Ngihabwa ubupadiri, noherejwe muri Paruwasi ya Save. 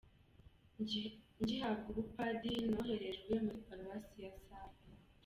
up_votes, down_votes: 1, 2